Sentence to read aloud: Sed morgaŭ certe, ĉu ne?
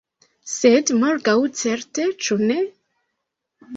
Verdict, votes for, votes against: accepted, 2, 0